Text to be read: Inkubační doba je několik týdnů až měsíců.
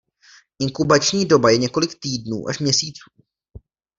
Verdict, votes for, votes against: accepted, 2, 0